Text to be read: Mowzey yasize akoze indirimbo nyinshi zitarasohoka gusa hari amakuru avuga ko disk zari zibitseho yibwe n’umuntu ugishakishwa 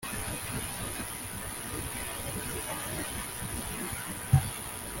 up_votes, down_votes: 0, 2